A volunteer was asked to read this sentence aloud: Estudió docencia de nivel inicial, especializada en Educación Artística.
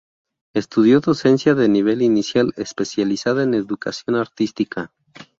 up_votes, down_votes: 4, 0